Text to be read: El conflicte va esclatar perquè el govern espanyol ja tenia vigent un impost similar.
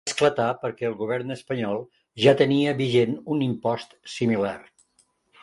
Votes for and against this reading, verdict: 1, 2, rejected